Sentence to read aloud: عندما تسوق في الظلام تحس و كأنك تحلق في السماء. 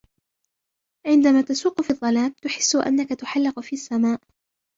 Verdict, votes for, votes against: rejected, 0, 2